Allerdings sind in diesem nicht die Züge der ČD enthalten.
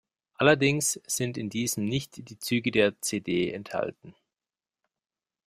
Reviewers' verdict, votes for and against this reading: rejected, 1, 2